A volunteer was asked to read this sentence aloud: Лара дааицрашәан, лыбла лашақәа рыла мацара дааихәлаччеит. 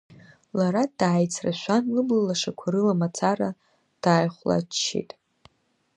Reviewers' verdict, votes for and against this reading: rejected, 1, 2